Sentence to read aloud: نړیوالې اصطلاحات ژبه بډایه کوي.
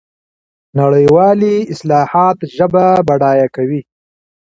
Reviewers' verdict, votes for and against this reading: rejected, 0, 2